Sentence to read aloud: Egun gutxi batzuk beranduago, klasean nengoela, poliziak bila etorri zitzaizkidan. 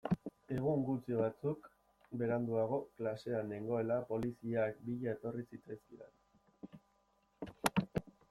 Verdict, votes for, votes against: accepted, 2, 0